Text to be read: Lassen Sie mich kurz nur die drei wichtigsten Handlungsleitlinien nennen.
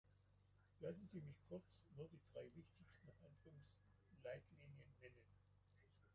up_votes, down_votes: 1, 2